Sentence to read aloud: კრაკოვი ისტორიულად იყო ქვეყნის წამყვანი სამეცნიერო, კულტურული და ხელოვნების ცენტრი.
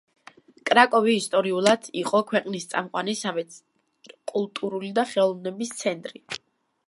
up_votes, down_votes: 0, 2